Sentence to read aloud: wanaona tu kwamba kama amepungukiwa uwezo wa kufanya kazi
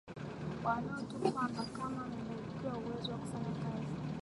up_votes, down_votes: 0, 2